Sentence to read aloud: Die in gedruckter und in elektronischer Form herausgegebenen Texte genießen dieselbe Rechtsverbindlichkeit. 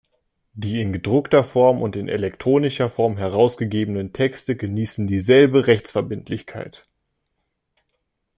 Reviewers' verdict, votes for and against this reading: rejected, 1, 2